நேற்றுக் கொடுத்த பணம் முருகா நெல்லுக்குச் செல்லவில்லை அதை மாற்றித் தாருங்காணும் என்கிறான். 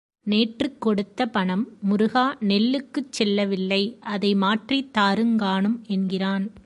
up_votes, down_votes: 2, 0